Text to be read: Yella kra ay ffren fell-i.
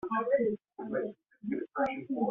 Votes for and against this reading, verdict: 0, 2, rejected